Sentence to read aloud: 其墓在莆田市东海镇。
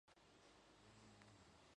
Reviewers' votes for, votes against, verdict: 0, 2, rejected